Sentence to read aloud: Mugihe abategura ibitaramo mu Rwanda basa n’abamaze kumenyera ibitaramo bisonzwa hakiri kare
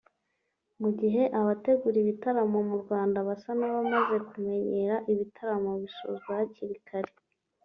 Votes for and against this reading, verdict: 4, 1, accepted